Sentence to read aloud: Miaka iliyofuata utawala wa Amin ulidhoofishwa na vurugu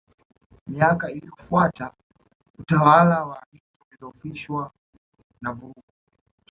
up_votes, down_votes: 2, 0